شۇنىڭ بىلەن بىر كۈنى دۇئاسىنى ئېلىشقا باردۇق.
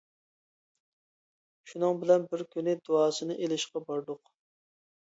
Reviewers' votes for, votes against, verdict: 2, 0, accepted